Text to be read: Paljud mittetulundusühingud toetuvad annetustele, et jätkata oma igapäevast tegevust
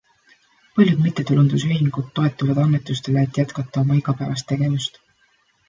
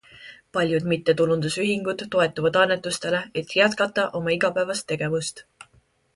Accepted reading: second